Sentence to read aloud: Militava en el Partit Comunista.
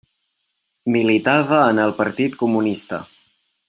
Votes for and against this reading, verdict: 3, 0, accepted